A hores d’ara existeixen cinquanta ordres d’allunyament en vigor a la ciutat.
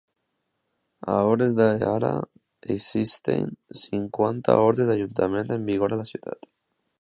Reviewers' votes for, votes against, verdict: 0, 2, rejected